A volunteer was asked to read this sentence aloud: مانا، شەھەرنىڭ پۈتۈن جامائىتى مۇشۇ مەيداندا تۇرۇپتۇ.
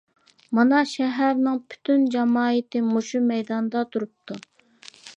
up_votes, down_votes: 2, 0